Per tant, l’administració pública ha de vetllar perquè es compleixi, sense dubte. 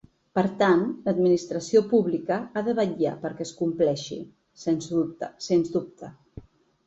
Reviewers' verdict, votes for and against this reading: rejected, 0, 2